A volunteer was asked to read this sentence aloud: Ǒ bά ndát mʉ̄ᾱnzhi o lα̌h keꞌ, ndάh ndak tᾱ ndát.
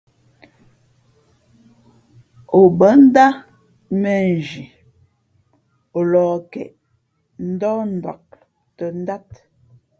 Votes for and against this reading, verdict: 2, 0, accepted